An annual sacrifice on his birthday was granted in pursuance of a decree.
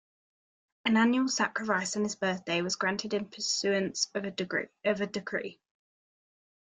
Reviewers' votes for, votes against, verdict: 0, 2, rejected